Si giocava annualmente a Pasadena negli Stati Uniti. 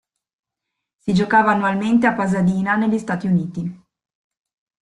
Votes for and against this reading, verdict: 2, 0, accepted